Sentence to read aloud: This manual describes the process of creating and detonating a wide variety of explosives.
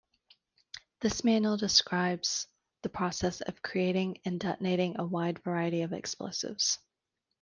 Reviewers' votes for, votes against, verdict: 2, 0, accepted